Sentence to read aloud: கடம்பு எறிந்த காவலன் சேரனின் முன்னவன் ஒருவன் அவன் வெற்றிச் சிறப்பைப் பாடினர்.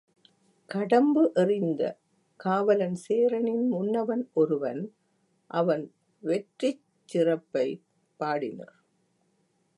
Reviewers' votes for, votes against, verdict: 3, 1, accepted